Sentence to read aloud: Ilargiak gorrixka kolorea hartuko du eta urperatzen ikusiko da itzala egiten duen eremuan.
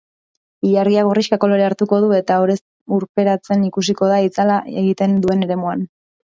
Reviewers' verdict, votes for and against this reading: rejected, 1, 2